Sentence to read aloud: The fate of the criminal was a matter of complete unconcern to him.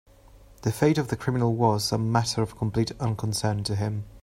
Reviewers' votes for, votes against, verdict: 2, 0, accepted